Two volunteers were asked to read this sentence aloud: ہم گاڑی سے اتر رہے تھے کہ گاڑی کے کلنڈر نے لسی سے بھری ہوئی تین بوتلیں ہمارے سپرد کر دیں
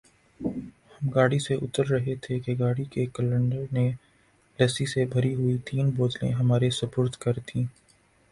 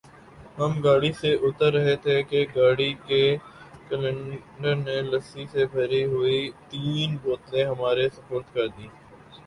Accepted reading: second